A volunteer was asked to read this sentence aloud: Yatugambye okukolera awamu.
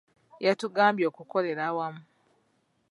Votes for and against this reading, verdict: 2, 0, accepted